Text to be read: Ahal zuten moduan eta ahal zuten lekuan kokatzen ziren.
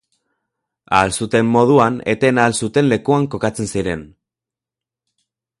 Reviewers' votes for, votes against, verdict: 0, 4, rejected